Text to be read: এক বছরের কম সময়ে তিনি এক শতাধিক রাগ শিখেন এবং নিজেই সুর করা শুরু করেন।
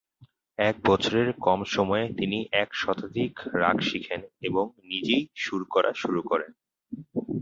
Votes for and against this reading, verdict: 15, 0, accepted